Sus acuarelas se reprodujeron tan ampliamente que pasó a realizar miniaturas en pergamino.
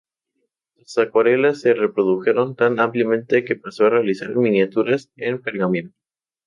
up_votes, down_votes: 2, 0